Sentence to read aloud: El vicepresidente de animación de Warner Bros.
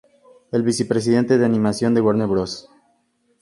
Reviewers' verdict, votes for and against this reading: accepted, 2, 0